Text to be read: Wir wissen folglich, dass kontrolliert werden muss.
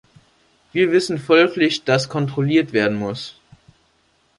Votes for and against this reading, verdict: 2, 0, accepted